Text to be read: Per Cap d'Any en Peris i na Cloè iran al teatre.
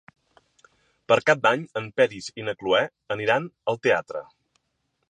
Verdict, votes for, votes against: rejected, 1, 2